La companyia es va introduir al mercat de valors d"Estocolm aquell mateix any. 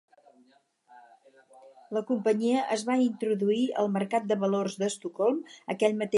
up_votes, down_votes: 0, 4